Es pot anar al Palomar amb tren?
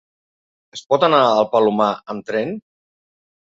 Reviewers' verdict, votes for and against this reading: accepted, 2, 0